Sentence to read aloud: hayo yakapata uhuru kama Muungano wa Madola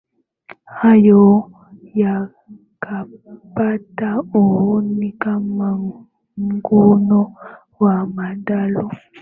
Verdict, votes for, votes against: rejected, 0, 2